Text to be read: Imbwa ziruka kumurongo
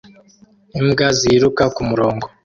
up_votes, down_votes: 2, 0